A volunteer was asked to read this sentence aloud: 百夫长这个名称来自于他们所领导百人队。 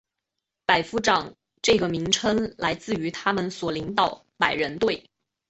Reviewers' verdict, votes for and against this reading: accepted, 4, 0